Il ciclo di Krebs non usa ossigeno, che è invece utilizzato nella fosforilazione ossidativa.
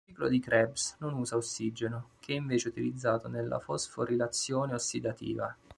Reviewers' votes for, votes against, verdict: 1, 2, rejected